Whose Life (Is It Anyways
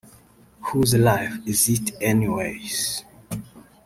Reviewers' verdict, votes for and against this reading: rejected, 0, 2